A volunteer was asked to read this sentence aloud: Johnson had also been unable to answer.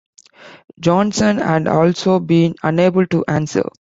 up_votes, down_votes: 1, 2